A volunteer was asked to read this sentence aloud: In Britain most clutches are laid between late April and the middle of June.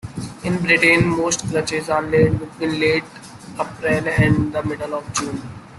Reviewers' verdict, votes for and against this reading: rejected, 1, 2